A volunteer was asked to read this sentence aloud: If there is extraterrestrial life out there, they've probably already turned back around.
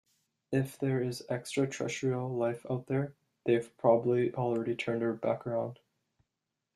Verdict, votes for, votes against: accepted, 2, 1